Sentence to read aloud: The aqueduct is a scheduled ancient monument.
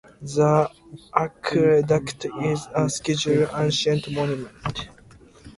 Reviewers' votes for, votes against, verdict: 2, 0, accepted